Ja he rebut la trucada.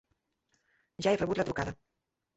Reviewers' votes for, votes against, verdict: 1, 2, rejected